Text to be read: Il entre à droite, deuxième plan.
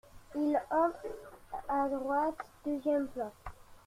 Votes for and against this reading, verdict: 1, 2, rejected